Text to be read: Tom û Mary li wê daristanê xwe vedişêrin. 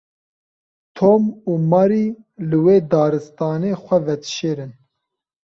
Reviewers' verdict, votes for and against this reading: accepted, 2, 0